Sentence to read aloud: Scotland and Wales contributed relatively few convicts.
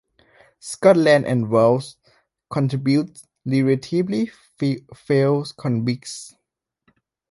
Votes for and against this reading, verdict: 0, 2, rejected